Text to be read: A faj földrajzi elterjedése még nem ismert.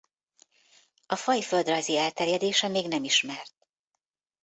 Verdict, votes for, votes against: accepted, 2, 0